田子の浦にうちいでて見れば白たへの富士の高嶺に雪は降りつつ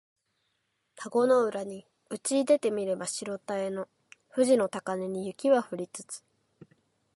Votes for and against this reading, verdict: 4, 0, accepted